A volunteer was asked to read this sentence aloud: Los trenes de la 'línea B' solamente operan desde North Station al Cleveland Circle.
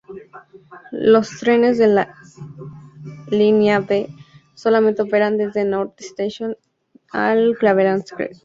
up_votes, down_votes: 0, 2